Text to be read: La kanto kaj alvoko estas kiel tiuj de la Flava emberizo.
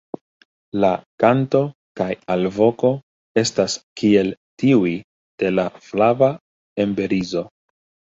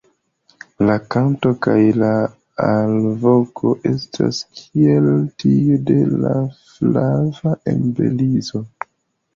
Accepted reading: first